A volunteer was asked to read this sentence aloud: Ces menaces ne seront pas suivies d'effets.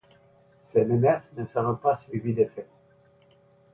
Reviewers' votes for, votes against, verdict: 1, 2, rejected